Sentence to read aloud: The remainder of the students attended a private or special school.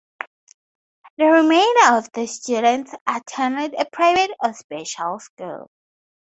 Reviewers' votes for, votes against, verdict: 4, 0, accepted